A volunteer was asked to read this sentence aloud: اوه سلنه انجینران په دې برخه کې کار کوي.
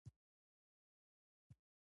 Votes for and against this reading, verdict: 2, 0, accepted